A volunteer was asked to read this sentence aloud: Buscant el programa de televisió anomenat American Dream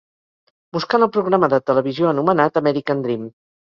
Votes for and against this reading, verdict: 4, 0, accepted